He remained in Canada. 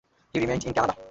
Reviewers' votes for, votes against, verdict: 2, 1, accepted